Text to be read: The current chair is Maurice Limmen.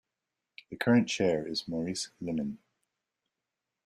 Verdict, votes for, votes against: accepted, 2, 0